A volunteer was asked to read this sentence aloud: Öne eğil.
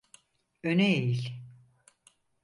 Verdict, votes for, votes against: accepted, 4, 0